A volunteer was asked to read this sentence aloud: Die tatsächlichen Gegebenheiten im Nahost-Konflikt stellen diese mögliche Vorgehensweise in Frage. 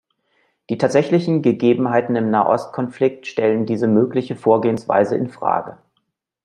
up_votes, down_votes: 2, 0